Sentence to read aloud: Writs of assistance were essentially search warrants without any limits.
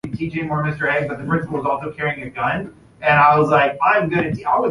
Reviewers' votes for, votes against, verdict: 0, 2, rejected